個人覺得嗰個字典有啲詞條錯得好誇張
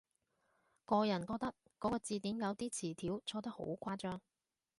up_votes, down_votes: 2, 0